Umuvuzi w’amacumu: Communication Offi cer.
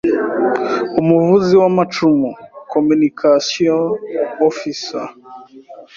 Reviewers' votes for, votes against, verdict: 2, 0, accepted